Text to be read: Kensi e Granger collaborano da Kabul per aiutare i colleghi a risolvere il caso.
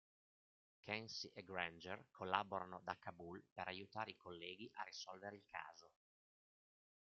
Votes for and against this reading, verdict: 2, 0, accepted